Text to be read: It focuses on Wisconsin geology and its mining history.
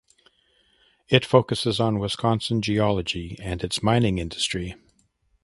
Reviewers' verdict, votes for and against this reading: rejected, 1, 2